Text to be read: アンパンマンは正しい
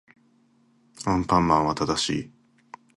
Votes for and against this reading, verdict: 2, 0, accepted